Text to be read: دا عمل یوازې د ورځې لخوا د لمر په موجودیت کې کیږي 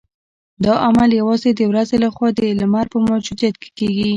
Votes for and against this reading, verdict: 2, 0, accepted